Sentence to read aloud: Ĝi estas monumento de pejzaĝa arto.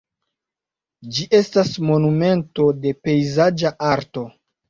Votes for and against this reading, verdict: 2, 0, accepted